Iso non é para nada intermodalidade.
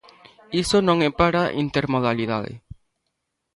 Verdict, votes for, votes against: rejected, 0, 2